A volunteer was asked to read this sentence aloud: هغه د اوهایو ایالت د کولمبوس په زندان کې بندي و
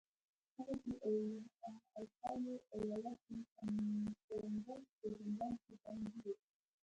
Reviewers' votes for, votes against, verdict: 1, 2, rejected